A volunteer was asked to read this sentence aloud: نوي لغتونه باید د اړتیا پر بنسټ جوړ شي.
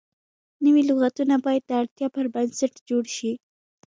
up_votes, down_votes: 2, 0